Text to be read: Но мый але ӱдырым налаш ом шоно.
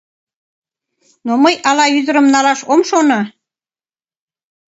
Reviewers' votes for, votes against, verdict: 1, 2, rejected